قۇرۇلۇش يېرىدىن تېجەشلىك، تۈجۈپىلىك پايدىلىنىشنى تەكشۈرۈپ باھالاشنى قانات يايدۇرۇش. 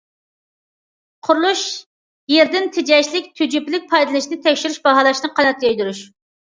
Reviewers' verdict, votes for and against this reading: rejected, 1, 2